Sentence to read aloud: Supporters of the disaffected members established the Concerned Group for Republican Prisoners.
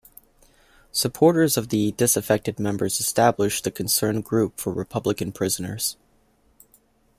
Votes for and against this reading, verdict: 2, 0, accepted